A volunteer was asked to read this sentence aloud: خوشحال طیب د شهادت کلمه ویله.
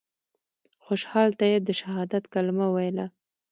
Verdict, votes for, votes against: accepted, 2, 0